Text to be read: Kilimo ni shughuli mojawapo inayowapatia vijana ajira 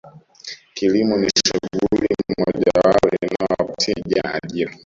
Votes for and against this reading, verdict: 0, 2, rejected